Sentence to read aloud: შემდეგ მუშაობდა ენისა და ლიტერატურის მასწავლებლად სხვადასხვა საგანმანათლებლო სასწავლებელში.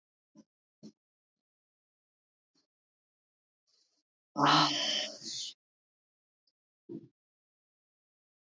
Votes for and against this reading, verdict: 0, 2, rejected